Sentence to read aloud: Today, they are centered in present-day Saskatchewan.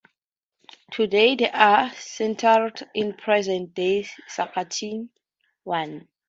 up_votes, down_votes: 0, 2